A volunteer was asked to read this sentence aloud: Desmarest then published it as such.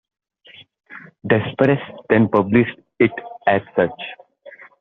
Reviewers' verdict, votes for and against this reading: rejected, 0, 2